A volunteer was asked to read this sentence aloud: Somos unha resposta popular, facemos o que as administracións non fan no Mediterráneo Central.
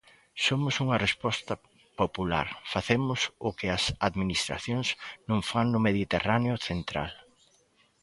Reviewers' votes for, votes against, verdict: 2, 0, accepted